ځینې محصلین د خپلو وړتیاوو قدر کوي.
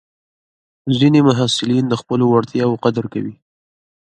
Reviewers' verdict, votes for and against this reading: accepted, 2, 0